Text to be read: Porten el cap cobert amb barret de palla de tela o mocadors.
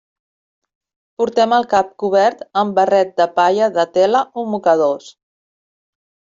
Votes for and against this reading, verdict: 0, 2, rejected